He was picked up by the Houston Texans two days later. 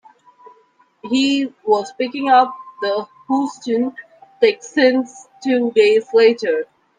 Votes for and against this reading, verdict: 0, 2, rejected